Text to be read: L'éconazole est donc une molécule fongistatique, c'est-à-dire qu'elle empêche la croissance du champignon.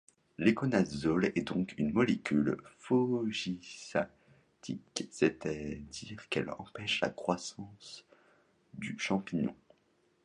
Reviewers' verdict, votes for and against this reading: rejected, 0, 2